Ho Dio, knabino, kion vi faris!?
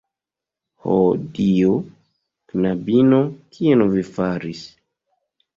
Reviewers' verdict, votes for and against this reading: accepted, 2, 0